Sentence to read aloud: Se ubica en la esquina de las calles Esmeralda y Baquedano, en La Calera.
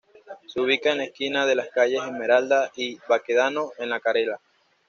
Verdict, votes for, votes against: accepted, 2, 0